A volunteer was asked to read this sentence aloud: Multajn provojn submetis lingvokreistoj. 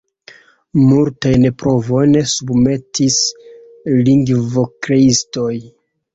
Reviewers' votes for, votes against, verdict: 1, 2, rejected